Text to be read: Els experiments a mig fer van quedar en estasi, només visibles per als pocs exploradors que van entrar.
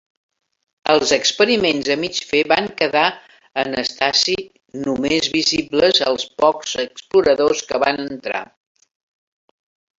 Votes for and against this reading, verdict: 1, 4, rejected